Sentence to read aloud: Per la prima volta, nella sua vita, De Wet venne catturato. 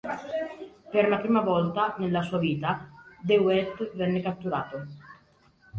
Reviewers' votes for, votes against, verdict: 2, 0, accepted